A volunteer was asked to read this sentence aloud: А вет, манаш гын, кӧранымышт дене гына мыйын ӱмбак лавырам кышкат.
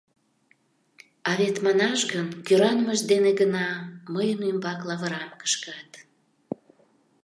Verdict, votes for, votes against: accepted, 2, 0